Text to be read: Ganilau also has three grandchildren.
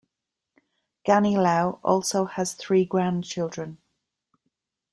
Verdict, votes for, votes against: accepted, 3, 0